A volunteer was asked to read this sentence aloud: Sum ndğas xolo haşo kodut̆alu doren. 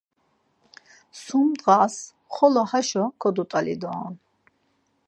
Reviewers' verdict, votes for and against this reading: accepted, 4, 0